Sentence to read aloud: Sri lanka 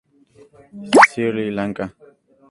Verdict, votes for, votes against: accepted, 2, 0